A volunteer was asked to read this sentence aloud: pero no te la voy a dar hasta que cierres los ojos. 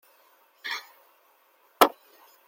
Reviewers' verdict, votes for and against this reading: rejected, 0, 2